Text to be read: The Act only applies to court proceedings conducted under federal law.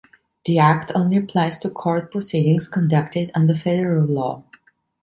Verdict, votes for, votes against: accepted, 2, 0